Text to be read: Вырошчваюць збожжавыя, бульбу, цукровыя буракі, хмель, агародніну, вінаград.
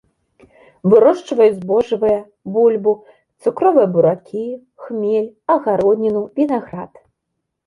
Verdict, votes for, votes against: accepted, 2, 0